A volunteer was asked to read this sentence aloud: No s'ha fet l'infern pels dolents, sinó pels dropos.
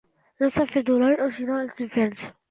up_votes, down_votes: 0, 2